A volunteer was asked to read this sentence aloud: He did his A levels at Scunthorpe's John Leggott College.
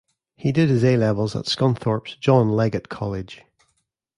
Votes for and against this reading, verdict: 2, 0, accepted